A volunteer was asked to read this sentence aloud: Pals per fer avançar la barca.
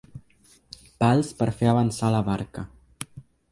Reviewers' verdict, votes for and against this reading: accepted, 3, 0